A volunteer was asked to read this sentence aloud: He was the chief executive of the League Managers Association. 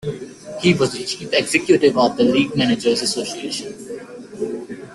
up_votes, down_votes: 2, 1